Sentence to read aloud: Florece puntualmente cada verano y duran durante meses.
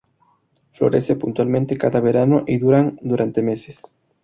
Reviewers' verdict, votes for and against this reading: accepted, 2, 0